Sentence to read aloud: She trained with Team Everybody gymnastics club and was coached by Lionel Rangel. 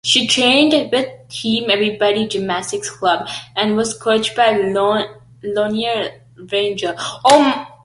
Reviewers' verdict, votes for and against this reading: rejected, 0, 2